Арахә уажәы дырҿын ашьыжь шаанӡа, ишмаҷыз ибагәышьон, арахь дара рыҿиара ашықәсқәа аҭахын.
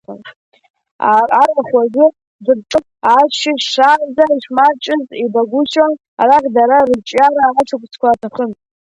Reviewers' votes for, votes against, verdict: 0, 2, rejected